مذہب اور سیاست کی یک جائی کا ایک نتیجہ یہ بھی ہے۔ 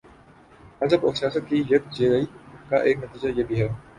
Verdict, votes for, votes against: accepted, 5, 1